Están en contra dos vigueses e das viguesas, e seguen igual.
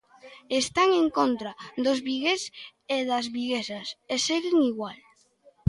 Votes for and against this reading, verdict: 0, 2, rejected